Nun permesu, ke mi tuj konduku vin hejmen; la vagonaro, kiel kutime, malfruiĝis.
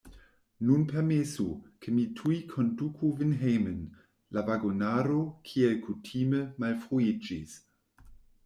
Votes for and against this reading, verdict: 1, 2, rejected